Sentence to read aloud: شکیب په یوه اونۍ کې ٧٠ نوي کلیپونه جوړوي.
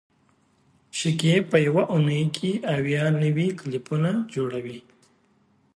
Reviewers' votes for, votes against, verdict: 0, 2, rejected